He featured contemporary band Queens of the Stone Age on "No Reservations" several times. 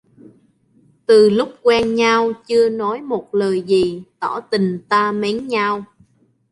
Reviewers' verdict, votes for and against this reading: rejected, 0, 2